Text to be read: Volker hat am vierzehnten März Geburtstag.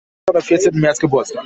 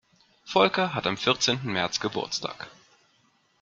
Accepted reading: second